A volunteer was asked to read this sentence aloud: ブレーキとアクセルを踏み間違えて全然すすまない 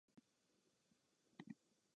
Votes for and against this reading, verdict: 1, 2, rejected